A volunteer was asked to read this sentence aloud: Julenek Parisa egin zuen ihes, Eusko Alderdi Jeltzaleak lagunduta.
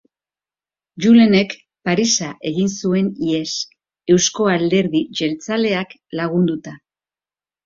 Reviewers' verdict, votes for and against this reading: accepted, 3, 0